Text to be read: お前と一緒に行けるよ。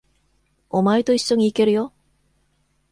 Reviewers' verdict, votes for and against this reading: accepted, 2, 0